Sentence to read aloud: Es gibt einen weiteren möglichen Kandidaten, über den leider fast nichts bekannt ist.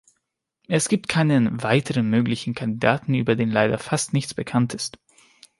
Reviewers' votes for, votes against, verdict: 1, 2, rejected